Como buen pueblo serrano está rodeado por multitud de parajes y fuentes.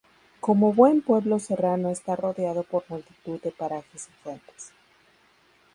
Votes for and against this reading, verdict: 2, 2, rejected